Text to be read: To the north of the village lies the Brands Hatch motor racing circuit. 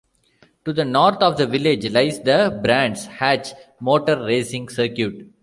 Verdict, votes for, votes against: accepted, 2, 0